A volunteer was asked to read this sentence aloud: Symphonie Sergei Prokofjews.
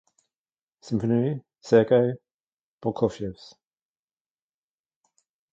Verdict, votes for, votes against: accepted, 2, 1